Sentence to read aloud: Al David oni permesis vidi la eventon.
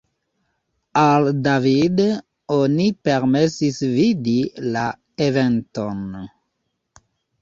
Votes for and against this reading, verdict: 2, 0, accepted